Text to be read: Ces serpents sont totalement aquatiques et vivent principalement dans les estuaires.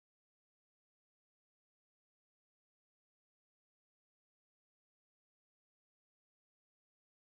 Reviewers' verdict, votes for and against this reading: rejected, 0, 2